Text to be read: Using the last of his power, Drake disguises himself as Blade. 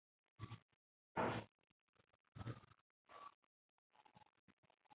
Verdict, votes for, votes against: rejected, 0, 3